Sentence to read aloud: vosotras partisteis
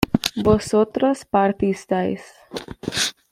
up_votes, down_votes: 2, 0